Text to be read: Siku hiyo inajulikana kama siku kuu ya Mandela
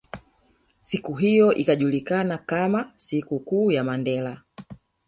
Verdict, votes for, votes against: rejected, 1, 2